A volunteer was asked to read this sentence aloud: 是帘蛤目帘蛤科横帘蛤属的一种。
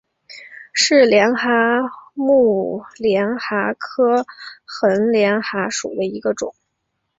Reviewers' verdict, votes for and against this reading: accepted, 4, 0